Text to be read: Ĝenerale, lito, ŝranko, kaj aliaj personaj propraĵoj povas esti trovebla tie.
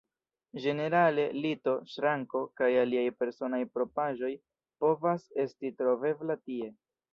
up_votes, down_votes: 1, 2